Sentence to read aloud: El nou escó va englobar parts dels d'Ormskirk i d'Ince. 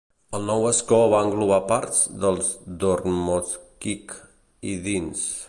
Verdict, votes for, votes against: rejected, 1, 2